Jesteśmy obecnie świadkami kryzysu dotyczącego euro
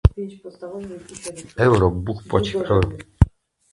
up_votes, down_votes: 0, 2